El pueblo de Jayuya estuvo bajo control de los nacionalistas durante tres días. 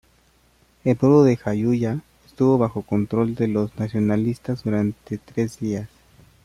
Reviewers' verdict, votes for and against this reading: accepted, 2, 0